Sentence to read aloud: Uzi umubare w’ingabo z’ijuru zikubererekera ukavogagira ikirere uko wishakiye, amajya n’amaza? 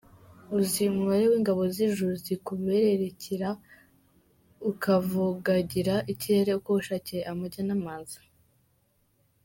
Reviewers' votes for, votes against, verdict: 2, 1, accepted